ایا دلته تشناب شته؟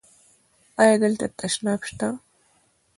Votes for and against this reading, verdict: 2, 0, accepted